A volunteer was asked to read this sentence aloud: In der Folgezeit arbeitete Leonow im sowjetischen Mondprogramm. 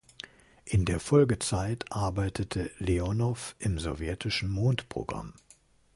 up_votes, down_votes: 2, 0